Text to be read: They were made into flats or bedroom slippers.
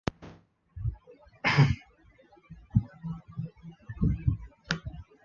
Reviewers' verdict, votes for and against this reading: rejected, 0, 2